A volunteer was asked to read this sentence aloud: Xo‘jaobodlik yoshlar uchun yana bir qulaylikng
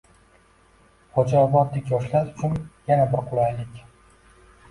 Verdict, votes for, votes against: accepted, 2, 0